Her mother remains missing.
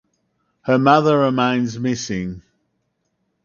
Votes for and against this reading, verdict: 2, 2, rejected